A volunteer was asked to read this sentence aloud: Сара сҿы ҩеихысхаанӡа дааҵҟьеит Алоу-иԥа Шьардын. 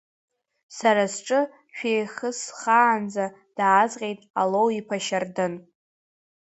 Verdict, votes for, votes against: rejected, 2, 3